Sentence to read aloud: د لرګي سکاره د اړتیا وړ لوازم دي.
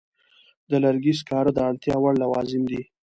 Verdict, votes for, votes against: accepted, 2, 0